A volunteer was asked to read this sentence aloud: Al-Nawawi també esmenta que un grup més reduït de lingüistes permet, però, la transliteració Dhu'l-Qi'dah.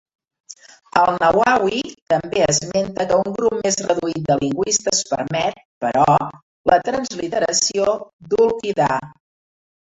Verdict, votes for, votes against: rejected, 1, 2